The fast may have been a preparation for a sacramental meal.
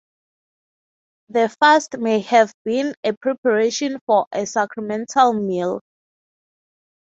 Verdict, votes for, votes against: accepted, 3, 0